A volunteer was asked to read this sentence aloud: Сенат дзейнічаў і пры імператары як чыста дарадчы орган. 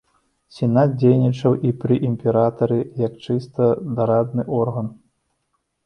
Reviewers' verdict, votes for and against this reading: rejected, 0, 2